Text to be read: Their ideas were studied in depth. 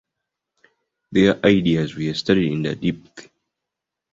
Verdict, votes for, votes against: accepted, 2, 0